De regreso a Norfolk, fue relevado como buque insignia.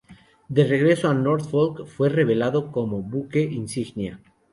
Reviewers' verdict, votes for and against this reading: accepted, 2, 0